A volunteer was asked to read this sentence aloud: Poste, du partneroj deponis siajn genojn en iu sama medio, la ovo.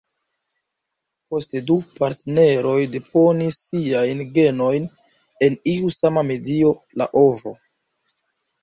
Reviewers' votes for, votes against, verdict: 2, 0, accepted